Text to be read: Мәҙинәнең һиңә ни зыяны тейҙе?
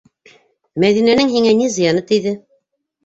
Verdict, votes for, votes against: accepted, 2, 0